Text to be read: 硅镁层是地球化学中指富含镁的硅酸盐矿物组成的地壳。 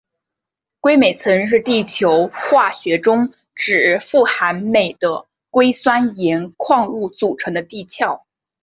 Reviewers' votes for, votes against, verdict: 2, 0, accepted